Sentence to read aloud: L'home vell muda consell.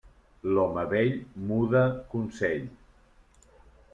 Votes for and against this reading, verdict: 3, 1, accepted